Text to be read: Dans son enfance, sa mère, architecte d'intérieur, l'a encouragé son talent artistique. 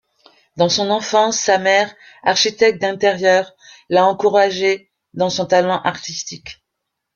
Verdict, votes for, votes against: rejected, 0, 2